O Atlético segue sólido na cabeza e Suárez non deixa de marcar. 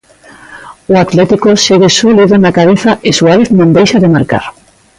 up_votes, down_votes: 2, 0